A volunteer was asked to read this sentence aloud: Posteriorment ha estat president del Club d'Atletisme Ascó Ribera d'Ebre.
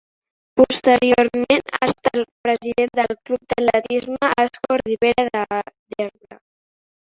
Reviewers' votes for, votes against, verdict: 0, 2, rejected